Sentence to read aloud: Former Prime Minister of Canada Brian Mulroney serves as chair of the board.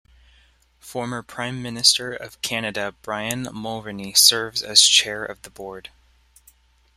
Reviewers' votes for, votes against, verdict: 3, 0, accepted